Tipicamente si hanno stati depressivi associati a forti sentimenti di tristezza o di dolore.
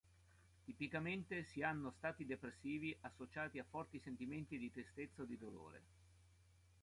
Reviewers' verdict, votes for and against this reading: accepted, 2, 0